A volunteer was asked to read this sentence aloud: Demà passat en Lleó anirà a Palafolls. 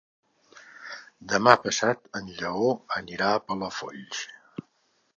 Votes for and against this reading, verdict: 3, 0, accepted